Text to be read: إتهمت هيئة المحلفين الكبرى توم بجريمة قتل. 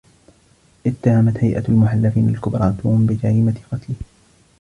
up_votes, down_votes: 2, 0